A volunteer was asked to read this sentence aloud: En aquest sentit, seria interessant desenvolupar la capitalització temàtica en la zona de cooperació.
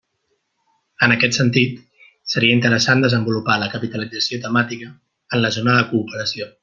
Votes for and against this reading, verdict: 3, 0, accepted